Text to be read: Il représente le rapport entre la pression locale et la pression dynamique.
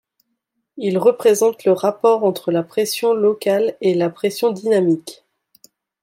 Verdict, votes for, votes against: accepted, 2, 0